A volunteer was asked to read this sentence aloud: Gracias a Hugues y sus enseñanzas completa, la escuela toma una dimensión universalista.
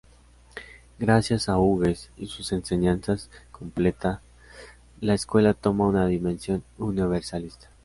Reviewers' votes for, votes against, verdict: 2, 0, accepted